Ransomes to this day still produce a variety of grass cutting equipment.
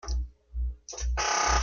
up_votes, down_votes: 0, 2